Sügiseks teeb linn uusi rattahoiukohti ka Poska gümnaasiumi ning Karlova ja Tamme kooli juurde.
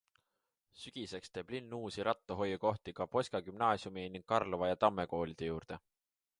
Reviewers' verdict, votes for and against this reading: rejected, 0, 2